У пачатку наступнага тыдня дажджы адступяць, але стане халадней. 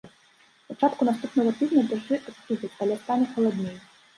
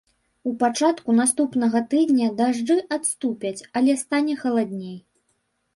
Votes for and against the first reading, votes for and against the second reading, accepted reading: 1, 2, 3, 0, second